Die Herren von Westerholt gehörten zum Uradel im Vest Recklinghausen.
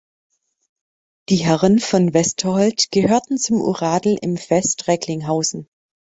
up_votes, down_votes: 1, 2